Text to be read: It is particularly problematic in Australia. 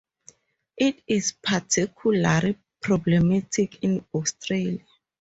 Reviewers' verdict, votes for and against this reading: accepted, 2, 0